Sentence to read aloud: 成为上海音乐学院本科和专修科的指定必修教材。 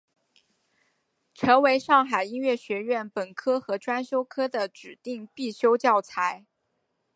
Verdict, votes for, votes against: accepted, 2, 1